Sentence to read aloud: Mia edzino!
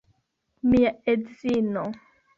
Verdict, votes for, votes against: accepted, 3, 0